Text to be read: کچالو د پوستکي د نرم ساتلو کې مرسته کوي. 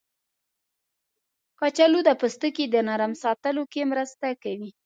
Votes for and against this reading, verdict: 2, 0, accepted